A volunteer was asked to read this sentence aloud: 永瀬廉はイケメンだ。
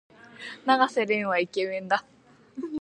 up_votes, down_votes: 2, 0